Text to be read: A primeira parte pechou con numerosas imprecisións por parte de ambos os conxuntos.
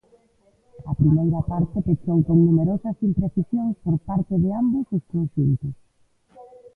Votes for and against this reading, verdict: 1, 2, rejected